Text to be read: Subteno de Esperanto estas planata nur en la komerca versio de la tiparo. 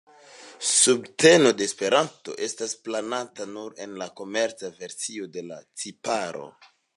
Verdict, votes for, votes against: accepted, 2, 0